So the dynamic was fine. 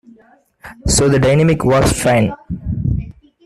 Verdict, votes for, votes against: rejected, 1, 2